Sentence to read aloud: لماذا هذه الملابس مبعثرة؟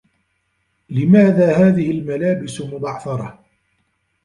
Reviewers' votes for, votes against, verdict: 1, 2, rejected